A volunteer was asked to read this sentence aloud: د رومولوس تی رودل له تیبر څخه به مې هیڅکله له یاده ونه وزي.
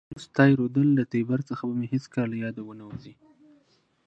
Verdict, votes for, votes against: rejected, 0, 2